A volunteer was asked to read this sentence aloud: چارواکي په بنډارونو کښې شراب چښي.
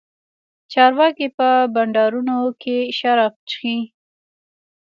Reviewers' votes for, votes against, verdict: 2, 1, accepted